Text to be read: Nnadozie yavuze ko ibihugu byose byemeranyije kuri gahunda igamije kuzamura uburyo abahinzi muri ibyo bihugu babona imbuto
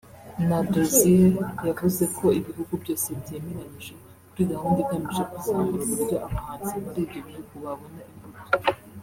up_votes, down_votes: 1, 2